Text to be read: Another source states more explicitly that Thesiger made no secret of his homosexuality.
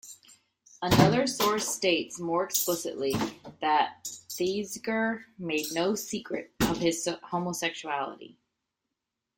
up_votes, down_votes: 1, 2